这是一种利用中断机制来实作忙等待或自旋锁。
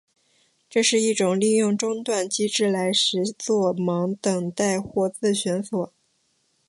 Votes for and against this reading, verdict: 4, 0, accepted